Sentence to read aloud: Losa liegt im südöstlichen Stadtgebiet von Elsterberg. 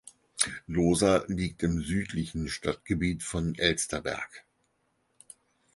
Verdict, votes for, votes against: rejected, 0, 4